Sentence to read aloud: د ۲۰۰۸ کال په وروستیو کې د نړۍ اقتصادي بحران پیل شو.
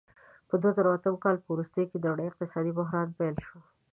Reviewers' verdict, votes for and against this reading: rejected, 0, 2